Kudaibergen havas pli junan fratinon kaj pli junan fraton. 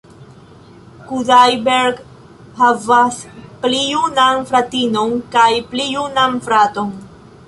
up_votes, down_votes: 1, 2